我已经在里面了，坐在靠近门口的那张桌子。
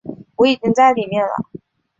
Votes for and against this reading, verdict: 0, 3, rejected